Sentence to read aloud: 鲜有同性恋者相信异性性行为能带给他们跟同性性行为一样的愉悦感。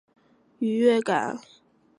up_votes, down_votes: 0, 3